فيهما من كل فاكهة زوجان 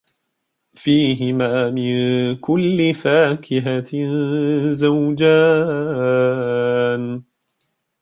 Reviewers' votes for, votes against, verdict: 1, 2, rejected